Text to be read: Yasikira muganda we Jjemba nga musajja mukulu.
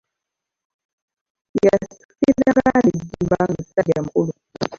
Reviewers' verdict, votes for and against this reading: rejected, 0, 2